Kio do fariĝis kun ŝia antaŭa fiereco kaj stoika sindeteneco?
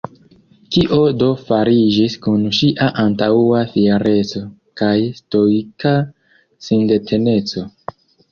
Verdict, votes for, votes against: rejected, 0, 2